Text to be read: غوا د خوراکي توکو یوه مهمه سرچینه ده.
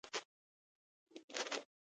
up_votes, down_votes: 0, 2